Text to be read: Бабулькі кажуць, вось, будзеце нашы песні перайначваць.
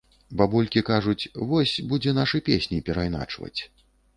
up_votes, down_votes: 1, 2